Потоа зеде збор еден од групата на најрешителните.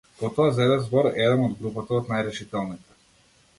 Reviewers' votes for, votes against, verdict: 0, 2, rejected